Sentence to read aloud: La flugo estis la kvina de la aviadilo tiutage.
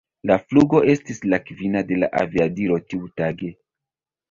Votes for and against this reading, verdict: 0, 2, rejected